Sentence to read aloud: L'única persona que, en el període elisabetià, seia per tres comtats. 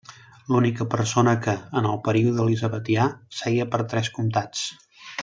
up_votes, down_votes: 2, 0